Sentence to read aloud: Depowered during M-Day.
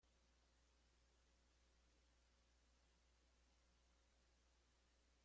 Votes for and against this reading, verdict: 0, 2, rejected